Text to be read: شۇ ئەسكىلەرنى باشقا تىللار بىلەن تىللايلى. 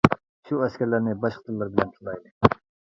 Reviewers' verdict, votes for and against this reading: rejected, 0, 2